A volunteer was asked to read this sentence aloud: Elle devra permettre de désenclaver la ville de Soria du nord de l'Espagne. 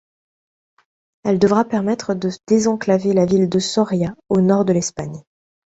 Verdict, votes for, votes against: rejected, 1, 2